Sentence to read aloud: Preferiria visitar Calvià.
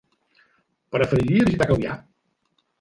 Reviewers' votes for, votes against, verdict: 3, 1, accepted